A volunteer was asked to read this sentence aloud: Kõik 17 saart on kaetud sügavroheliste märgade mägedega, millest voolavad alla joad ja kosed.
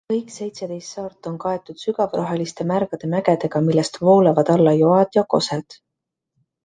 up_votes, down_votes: 0, 2